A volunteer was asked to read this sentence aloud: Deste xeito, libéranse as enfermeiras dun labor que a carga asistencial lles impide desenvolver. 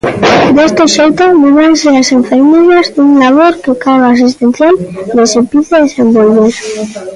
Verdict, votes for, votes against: rejected, 0, 2